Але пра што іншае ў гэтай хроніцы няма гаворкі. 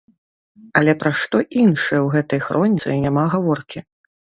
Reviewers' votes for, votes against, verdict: 1, 2, rejected